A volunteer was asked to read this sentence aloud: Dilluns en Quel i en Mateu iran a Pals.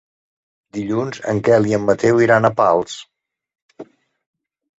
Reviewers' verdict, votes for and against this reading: accepted, 3, 0